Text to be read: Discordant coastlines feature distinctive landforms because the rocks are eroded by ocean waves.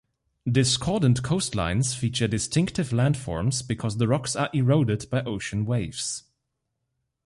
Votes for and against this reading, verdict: 2, 0, accepted